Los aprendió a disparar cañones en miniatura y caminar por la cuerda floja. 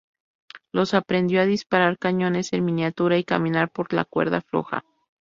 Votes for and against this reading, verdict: 2, 0, accepted